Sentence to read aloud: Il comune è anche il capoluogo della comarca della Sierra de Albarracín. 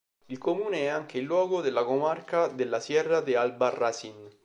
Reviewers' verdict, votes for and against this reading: rejected, 1, 3